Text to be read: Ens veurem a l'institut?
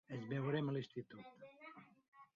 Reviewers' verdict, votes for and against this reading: rejected, 0, 2